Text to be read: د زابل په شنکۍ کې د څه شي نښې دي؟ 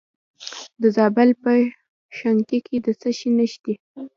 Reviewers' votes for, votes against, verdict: 2, 0, accepted